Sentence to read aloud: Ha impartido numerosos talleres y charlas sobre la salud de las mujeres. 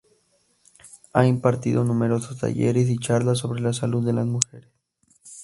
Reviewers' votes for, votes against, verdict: 0, 2, rejected